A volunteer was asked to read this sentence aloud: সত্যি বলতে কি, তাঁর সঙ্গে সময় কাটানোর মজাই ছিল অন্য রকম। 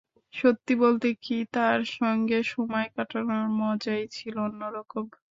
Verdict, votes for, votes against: accepted, 2, 0